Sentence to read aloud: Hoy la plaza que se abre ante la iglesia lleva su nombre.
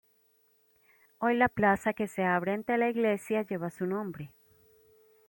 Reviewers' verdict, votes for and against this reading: accepted, 3, 0